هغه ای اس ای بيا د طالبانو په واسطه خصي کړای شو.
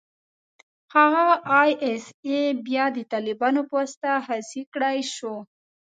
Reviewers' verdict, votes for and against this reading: rejected, 1, 2